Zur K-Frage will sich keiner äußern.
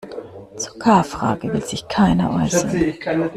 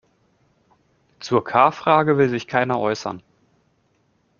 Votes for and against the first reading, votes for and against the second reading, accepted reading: 1, 2, 2, 0, second